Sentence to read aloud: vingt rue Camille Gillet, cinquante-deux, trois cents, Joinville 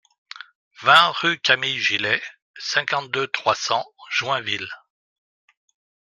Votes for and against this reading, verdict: 2, 0, accepted